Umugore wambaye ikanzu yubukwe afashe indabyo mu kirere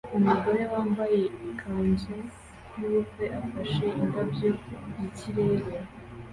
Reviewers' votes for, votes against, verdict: 2, 0, accepted